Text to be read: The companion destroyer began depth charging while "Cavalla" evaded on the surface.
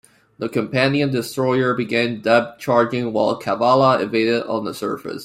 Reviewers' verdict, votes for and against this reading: accepted, 2, 1